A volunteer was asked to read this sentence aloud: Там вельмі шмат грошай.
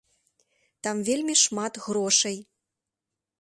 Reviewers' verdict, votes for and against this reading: accepted, 2, 0